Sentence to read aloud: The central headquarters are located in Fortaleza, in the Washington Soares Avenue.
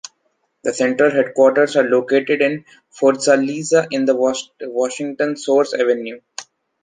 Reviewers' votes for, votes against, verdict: 2, 3, rejected